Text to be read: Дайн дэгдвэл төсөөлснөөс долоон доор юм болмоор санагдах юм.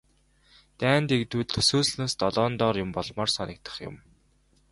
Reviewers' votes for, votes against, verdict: 2, 0, accepted